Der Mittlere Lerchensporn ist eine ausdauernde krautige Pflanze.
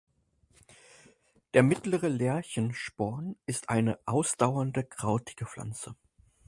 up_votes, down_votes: 4, 0